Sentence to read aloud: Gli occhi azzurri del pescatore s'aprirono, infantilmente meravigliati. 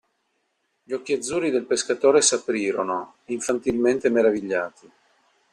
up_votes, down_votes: 2, 0